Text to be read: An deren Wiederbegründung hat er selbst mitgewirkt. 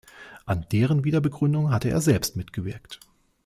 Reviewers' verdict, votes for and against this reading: rejected, 1, 2